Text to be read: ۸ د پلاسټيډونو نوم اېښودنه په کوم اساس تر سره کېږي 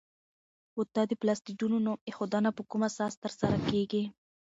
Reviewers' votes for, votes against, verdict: 0, 2, rejected